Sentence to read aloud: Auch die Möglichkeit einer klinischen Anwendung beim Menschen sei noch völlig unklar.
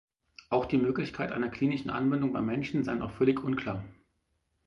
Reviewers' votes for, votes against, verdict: 4, 0, accepted